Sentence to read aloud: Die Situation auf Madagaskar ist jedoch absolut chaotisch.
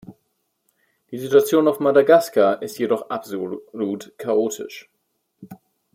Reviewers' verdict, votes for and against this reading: rejected, 0, 2